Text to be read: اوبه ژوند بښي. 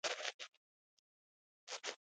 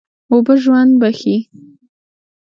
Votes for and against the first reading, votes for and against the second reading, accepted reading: 2, 0, 0, 2, first